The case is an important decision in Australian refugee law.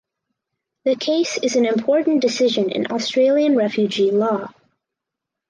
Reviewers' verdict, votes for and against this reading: accepted, 4, 0